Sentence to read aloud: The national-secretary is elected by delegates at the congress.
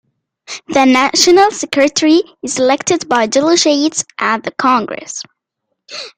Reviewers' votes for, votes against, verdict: 0, 2, rejected